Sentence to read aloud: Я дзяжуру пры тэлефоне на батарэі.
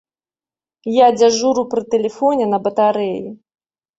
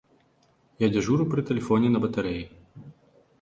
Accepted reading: first